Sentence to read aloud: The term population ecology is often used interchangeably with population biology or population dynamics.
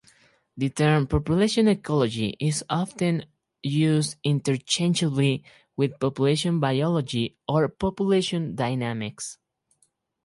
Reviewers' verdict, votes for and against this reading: accepted, 4, 0